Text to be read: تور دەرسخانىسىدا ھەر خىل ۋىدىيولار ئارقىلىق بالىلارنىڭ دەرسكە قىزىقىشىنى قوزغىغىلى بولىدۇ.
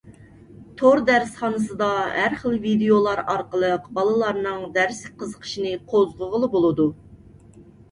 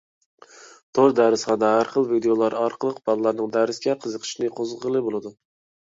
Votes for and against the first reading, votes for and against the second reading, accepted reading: 2, 0, 1, 2, first